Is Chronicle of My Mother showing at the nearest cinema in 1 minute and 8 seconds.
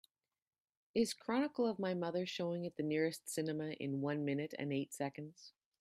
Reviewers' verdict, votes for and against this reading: rejected, 0, 2